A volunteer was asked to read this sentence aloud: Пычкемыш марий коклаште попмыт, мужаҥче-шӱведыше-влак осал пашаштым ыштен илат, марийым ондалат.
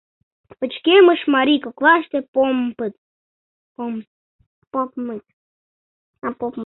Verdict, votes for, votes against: rejected, 0, 2